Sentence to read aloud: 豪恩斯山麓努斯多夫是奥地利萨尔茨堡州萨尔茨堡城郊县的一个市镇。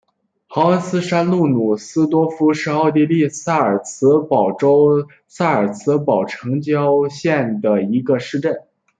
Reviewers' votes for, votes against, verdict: 0, 2, rejected